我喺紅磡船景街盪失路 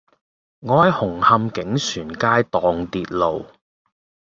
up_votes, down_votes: 0, 2